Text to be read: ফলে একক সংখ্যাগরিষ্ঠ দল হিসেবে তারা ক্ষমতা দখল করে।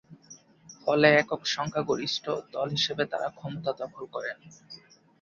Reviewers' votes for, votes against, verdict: 2, 0, accepted